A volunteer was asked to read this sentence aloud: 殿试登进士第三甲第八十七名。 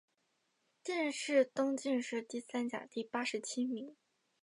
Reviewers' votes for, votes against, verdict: 2, 0, accepted